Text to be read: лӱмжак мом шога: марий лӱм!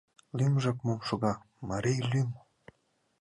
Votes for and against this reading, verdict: 2, 0, accepted